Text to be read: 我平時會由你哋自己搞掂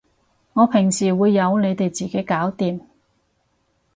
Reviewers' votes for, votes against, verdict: 2, 2, rejected